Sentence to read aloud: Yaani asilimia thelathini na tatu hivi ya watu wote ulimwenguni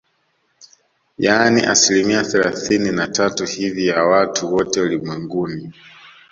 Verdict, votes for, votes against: accepted, 2, 0